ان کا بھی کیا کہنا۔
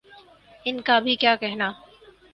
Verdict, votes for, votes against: accepted, 6, 0